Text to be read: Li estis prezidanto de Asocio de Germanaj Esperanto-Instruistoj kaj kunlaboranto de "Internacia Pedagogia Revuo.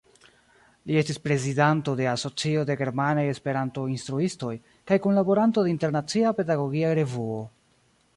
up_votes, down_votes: 1, 2